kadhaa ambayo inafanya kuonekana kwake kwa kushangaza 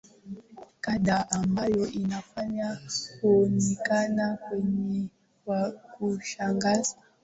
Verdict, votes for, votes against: accepted, 4, 2